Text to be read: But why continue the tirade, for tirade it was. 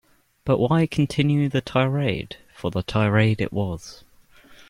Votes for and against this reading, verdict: 0, 2, rejected